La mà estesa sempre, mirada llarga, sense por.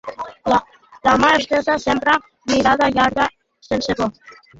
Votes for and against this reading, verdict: 1, 2, rejected